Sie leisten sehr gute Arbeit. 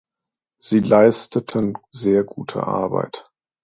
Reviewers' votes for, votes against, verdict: 1, 2, rejected